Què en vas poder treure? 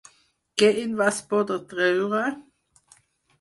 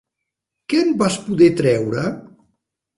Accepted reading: second